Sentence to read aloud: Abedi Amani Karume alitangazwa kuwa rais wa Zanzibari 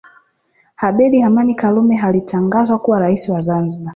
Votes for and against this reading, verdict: 0, 2, rejected